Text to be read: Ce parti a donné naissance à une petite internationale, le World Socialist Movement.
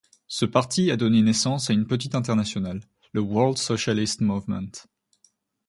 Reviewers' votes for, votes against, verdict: 2, 0, accepted